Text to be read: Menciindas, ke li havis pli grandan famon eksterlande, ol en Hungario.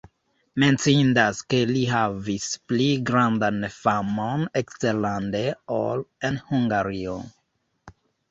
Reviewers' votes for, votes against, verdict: 1, 2, rejected